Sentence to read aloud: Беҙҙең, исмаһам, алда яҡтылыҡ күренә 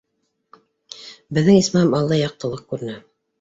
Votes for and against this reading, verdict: 1, 2, rejected